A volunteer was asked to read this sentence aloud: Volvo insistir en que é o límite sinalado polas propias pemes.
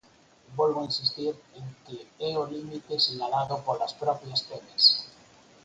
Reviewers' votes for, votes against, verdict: 4, 0, accepted